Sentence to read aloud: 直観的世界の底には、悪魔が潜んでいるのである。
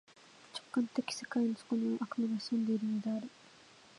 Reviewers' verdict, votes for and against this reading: accepted, 2, 0